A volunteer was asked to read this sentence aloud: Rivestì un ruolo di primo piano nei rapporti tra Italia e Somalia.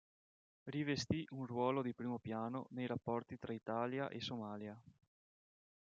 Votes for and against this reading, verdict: 2, 0, accepted